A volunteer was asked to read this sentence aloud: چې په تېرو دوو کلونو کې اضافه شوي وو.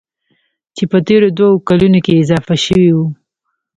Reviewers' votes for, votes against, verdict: 1, 2, rejected